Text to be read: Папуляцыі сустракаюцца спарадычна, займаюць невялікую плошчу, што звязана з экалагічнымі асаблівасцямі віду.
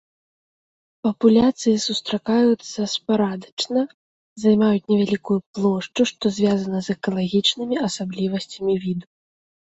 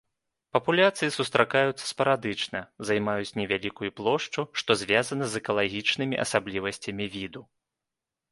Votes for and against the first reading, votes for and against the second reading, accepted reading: 1, 2, 2, 0, second